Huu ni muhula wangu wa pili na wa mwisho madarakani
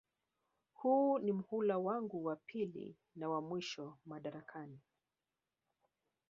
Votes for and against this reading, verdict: 1, 2, rejected